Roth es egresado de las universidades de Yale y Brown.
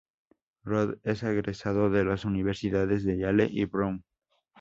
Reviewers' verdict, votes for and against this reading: rejected, 0, 2